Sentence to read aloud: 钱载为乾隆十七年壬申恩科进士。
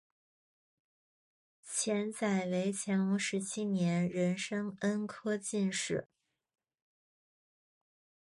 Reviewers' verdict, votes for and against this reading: accepted, 3, 0